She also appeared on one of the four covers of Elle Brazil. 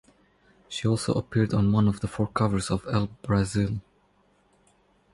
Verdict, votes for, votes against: accepted, 4, 0